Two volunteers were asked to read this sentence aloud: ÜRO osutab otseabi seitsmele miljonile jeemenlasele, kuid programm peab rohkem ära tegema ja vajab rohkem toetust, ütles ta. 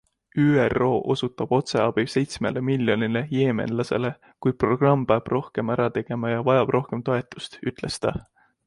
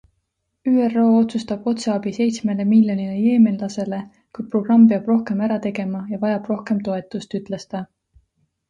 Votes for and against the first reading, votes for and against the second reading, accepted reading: 2, 0, 1, 2, first